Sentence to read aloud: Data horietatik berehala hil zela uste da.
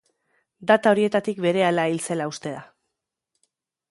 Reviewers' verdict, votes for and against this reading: accepted, 2, 0